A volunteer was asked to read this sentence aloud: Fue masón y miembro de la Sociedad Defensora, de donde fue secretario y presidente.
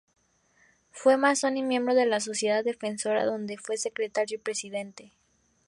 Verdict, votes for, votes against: rejected, 0, 2